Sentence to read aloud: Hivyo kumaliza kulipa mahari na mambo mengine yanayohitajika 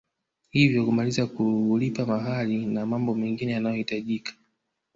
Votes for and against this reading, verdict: 1, 2, rejected